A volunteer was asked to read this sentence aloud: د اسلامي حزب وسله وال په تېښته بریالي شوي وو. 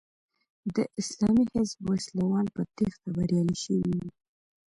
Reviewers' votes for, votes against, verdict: 0, 2, rejected